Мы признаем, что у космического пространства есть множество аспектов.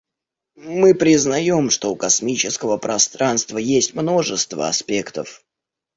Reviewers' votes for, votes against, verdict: 2, 0, accepted